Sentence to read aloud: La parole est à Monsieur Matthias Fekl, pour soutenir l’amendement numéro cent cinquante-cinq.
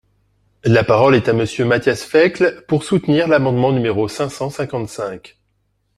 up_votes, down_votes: 0, 2